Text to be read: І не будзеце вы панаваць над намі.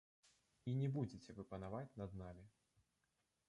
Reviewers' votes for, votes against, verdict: 0, 2, rejected